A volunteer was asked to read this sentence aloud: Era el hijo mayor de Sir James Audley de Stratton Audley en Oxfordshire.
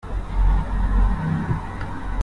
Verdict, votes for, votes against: rejected, 0, 2